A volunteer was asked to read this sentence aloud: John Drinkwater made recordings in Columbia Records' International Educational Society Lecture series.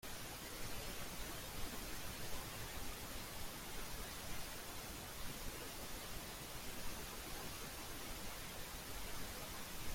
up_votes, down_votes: 0, 2